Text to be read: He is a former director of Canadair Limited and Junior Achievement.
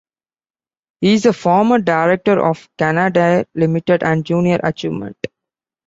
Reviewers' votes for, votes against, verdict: 2, 0, accepted